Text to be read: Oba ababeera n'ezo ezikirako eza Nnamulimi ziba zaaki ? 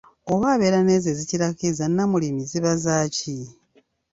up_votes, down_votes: 2, 0